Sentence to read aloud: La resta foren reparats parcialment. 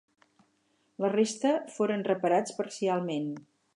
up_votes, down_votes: 8, 0